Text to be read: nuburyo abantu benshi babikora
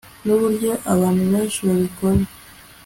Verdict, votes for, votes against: accepted, 2, 0